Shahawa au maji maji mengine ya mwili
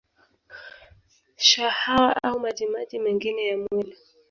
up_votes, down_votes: 1, 3